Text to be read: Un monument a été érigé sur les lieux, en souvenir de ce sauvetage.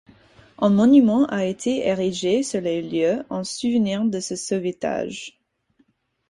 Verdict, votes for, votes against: rejected, 2, 4